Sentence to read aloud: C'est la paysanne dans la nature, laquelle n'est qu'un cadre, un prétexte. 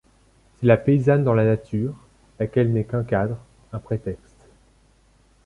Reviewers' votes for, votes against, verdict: 0, 2, rejected